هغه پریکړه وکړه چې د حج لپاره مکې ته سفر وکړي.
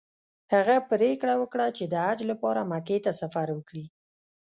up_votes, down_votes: 0, 2